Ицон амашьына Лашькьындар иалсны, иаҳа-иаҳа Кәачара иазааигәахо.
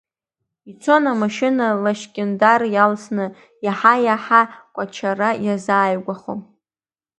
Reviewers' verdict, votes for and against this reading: accepted, 2, 0